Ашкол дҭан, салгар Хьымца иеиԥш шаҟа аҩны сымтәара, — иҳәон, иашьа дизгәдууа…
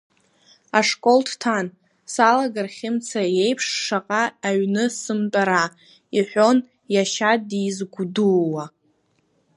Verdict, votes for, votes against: rejected, 1, 2